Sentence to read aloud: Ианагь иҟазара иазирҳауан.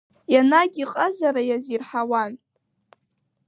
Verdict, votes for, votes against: accepted, 2, 0